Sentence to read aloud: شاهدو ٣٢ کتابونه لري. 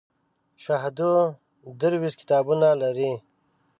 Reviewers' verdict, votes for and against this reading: rejected, 0, 2